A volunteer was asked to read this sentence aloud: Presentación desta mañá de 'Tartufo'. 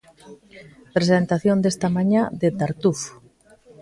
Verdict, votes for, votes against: accepted, 2, 0